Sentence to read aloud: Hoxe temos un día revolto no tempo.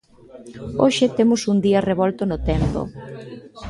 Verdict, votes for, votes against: accepted, 2, 0